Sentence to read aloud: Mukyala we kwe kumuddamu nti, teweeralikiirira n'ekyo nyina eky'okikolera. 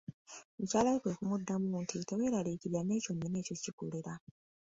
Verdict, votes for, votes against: accepted, 2, 0